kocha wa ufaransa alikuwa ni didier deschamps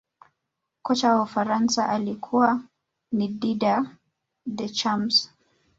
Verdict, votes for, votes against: rejected, 1, 2